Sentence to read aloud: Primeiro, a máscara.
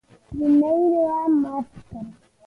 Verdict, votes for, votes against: rejected, 0, 2